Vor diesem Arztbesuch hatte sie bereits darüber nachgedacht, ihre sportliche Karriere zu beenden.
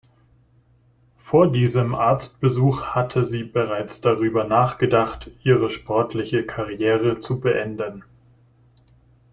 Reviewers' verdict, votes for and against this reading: accepted, 2, 0